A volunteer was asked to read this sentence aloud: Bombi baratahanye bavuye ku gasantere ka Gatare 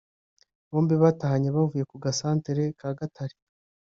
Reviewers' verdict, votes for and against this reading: rejected, 0, 2